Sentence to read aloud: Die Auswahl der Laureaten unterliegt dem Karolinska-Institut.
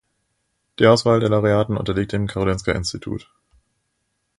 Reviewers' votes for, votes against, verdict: 2, 0, accepted